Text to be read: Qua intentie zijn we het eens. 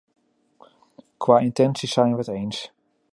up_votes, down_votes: 2, 0